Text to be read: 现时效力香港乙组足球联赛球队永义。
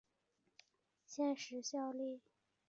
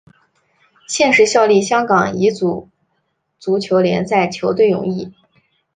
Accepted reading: second